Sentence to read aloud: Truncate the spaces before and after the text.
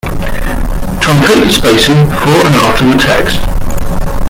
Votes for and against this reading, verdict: 0, 2, rejected